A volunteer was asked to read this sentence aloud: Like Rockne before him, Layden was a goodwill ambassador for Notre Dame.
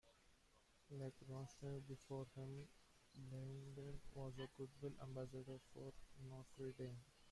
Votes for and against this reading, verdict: 1, 2, rejected